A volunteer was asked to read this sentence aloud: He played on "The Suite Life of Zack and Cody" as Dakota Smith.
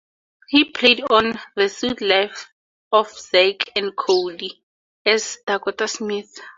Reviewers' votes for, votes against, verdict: 4, 0, accepted